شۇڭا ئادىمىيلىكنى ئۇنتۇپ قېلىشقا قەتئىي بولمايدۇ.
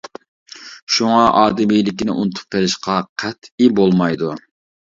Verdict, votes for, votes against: rejected, 0, 2